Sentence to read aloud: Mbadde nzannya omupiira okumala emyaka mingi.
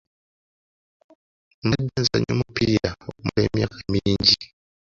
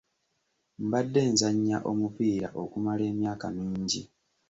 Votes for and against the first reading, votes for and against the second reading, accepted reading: 0, 2, 2, 0, second